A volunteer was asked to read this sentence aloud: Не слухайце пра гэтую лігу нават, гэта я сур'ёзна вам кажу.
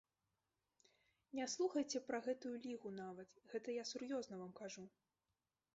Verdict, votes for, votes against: rejected, 1, 2